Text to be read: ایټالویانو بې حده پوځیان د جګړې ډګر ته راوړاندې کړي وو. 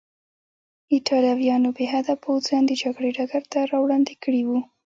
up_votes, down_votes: 1, 2